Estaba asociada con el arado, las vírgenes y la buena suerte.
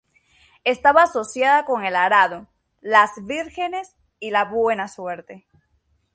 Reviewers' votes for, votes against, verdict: 3, 0, accepted